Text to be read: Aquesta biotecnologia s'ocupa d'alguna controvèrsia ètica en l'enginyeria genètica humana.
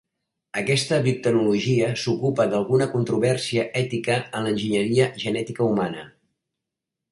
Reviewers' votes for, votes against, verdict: 1, 2, rejected